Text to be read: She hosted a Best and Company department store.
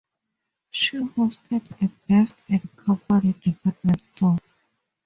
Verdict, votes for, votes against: rejected, 0, 2